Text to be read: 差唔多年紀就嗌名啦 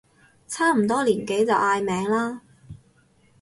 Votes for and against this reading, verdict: 4, 0, accepted